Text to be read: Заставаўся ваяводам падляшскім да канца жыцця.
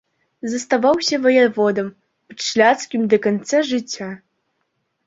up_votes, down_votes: 1, 2